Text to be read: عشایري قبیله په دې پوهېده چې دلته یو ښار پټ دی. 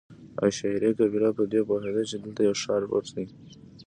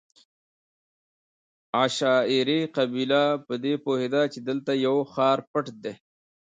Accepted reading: second